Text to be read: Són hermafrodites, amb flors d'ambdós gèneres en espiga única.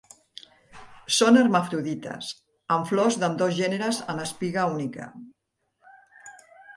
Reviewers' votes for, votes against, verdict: 2, 0, accepted